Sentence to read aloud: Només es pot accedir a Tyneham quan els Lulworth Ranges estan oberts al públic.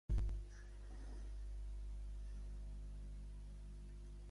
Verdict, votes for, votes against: rejected, 0, 2